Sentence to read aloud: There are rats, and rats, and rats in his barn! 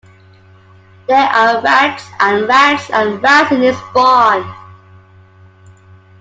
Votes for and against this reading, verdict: 2, 1, accepted